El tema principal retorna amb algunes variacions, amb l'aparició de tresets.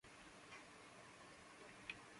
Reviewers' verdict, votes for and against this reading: rejected, 0, 2